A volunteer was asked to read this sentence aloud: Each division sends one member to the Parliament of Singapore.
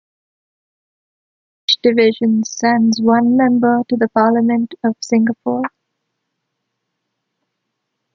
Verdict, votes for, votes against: rejected, 0, 2